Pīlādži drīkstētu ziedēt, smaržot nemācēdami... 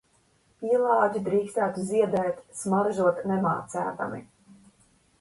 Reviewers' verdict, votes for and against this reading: accepted, 2, 1